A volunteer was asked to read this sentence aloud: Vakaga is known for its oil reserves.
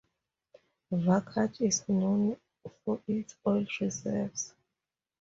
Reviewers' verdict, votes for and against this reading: accepted, 2, 0